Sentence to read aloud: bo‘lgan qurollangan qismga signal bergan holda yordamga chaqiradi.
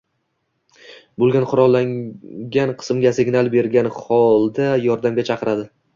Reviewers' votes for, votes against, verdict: 2, 0, accepted